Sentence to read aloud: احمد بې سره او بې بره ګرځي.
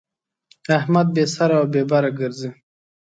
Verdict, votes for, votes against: accepted, 2, 0